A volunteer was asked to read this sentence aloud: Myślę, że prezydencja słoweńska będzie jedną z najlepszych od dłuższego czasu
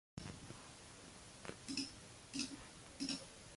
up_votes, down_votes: 0, 2